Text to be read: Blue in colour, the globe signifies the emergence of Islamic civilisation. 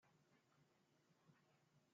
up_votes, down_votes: 0, 2